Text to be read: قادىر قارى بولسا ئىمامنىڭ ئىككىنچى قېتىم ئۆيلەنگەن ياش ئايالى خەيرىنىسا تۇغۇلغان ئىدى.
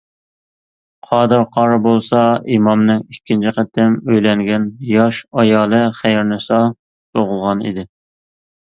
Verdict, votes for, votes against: accepted, 2, 0